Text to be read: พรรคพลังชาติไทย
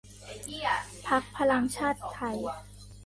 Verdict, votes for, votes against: rejected, 0, 2